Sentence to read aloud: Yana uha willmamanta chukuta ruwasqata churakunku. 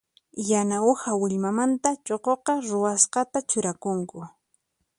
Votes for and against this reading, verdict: 0, 4, rejected